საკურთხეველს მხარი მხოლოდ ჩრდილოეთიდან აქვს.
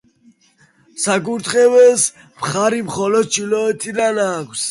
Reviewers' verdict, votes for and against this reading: accepted, 3, 1